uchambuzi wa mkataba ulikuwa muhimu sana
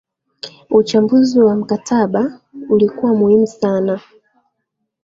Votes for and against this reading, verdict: 7, 0, accepted